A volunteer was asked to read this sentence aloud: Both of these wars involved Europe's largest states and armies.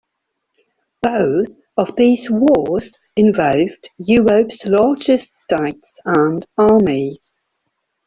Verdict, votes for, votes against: rejected, 1, 2